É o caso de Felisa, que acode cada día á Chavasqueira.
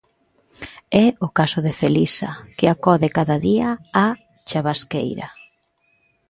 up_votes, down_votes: 2, 0